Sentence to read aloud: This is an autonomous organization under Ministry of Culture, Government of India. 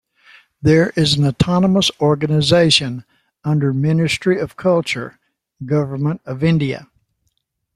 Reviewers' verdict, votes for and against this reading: rejected, 0, 2